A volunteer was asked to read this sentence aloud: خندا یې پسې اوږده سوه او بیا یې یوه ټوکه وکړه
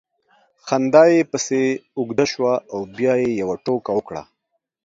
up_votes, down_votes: 2, 0